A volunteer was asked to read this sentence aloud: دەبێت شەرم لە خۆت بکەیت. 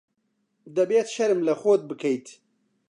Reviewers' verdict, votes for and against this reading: accepted, 2, 0